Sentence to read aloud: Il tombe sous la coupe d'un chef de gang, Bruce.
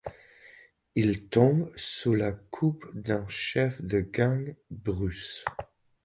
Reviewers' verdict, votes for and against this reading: accepted, 2, 0